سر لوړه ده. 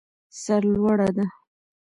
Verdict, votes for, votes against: rejected, 1, 2